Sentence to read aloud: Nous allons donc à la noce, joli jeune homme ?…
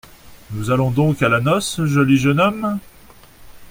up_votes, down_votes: 2, 0